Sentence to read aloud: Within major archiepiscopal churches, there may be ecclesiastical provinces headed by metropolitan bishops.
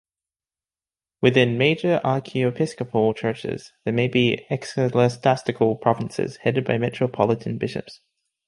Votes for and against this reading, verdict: 1, 2, rejected